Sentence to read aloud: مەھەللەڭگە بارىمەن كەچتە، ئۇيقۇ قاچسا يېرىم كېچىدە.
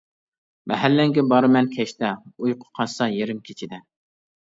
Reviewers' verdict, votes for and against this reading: accepted, 2, 0